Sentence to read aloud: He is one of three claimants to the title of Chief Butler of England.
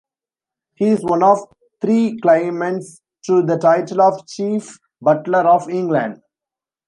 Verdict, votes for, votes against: accepted, 2, 1